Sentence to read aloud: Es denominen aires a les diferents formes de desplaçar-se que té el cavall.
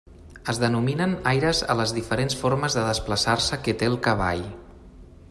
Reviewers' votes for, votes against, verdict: 1, 2, rejected